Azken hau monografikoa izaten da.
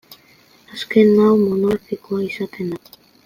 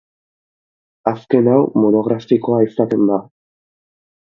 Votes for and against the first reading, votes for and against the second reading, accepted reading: 1, 2, 2, 0, second